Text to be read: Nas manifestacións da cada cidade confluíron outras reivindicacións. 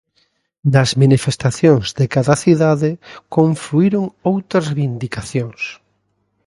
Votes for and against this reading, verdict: 0, 2, rejected